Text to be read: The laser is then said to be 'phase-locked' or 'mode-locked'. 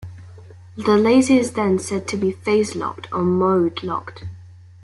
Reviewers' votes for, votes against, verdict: 2, 0, accepted